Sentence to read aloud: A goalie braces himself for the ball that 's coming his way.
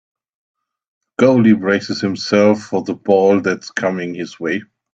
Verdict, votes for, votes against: rejected, 1, 2